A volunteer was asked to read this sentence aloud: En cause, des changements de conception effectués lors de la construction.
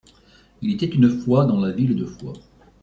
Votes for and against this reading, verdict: 1, 2, rejected